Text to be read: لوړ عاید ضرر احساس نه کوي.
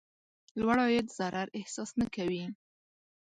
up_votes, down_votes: 2, 0